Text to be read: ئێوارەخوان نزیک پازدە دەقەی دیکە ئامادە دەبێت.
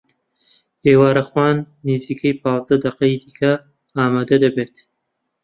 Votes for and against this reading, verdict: 0, 2, rejected